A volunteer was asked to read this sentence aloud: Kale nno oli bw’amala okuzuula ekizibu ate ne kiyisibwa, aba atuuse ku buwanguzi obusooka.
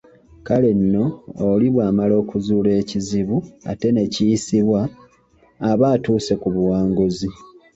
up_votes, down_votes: 0, 2